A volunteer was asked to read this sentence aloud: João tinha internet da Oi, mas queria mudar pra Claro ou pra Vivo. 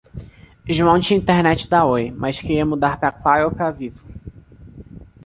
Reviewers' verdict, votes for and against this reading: accepted, 2, 0